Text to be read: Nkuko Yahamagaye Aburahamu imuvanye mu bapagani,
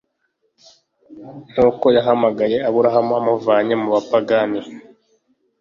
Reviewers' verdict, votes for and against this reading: rejected, 0, 2